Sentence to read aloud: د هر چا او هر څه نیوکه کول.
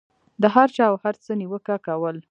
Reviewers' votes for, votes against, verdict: 1, 2, rejected